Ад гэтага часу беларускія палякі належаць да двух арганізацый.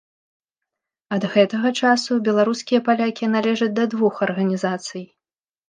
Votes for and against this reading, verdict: 2, 0, accepted